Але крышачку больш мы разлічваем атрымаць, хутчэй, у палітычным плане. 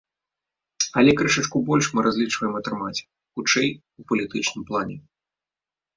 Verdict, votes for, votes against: accepted, 2, 0